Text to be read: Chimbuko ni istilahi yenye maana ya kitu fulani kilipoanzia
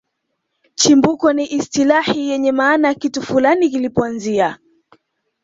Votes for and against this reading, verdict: 2, 1, accepted